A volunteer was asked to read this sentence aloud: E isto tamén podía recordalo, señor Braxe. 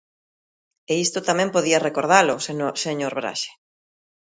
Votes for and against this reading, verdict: 0, 2, rejected